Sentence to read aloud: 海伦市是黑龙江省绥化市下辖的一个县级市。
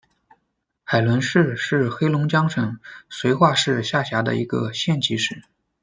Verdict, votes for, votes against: accepted, 2, 0